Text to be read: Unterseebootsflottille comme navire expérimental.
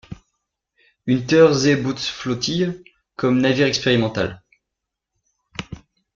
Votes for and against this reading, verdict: 2, 0, accepted